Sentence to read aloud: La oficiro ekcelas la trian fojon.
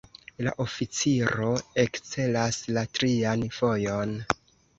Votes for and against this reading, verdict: 1, 2, rejected